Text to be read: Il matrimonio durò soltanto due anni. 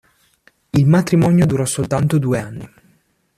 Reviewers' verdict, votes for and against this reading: accepted, 2, 1